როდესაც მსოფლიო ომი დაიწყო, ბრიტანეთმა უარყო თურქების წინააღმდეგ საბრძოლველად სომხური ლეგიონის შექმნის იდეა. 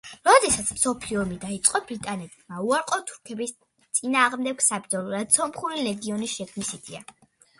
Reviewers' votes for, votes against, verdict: 2, 0, accepted